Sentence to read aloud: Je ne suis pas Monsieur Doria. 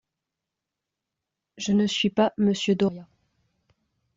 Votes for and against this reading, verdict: 2, 0, accepted